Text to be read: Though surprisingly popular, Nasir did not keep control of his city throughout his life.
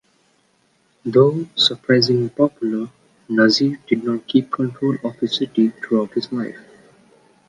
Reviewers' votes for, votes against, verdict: 1, 2, rejected